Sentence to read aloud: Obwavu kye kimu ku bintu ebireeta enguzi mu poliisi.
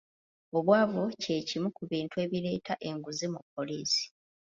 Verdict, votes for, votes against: accepted, 2, 0